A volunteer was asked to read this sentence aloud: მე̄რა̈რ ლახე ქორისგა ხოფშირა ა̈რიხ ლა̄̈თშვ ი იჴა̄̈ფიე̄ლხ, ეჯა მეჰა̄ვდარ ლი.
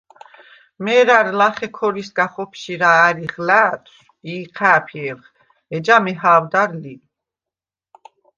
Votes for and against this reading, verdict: 2, 0, accepted